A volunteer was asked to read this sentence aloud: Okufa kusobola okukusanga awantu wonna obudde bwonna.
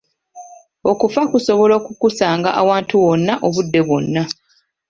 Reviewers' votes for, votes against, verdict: 1, 2, rejected